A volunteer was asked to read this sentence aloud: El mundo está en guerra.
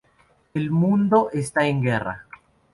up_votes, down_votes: 0, 2